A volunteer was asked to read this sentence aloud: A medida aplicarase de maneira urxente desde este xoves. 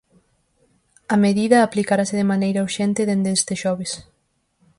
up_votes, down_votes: 2, 4